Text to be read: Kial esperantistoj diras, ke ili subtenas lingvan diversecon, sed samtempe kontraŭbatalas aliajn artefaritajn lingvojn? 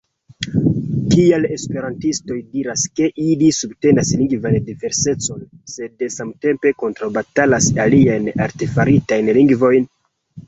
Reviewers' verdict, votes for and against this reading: accepted, 2, 0